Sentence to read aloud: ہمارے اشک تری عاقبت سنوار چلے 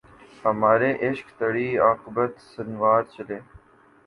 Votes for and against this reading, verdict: 0, 2, rejected